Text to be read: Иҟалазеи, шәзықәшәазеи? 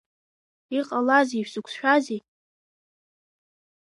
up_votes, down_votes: 2, 0